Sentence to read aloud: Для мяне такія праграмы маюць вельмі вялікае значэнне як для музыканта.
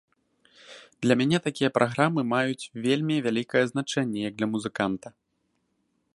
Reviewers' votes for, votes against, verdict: 2, 0, accepted